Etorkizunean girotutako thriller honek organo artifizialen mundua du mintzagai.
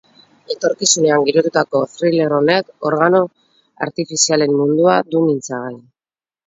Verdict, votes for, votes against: rejected, 2, 2